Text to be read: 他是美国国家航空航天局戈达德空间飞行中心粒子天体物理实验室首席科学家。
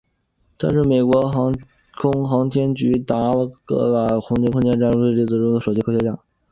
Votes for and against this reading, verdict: 0, 2, rejected